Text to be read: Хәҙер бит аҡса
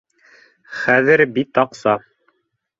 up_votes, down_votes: 2, 0